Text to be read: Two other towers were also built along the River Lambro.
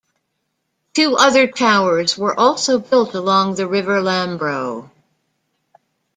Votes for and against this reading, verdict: 2, 0, accepted